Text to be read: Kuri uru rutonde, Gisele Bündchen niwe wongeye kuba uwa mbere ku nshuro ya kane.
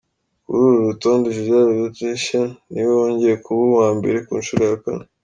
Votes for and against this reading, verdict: 2, 0, accepted